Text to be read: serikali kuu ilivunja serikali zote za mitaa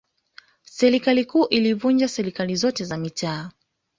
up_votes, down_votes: 1, 2